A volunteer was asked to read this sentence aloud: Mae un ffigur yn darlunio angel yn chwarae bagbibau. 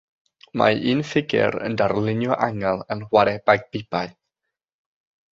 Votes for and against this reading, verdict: 3, 3, rejected